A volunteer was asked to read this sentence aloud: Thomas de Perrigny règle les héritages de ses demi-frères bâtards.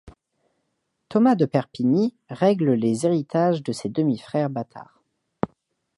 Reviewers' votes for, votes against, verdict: 1, 2, rejected